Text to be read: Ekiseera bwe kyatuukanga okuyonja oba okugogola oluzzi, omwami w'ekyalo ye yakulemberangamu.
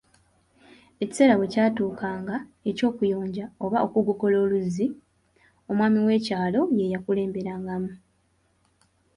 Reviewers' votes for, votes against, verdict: 2, 0, accepted